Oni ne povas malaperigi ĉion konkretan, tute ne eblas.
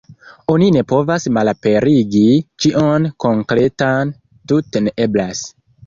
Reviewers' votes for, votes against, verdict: 2, 0, accepted